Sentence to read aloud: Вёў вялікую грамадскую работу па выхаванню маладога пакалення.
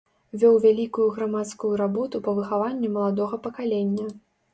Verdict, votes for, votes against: accepted, 3, 0